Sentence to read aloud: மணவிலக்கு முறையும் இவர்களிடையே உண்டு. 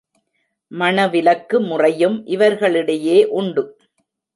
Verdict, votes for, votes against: accepted, 2, 0